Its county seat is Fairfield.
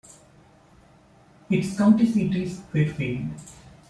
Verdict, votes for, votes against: rejected, 1, 2